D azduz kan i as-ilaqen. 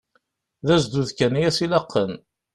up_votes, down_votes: 2, 0